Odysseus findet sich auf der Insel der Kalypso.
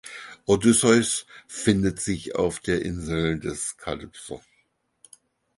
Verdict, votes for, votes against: rejected, 2, 4